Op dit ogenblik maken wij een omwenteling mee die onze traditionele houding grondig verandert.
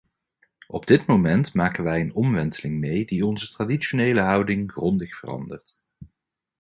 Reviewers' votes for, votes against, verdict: 1, 2, rejected